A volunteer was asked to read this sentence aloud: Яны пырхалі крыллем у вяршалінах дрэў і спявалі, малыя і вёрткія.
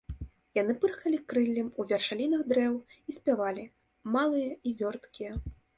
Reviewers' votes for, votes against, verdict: 0, 2, rejected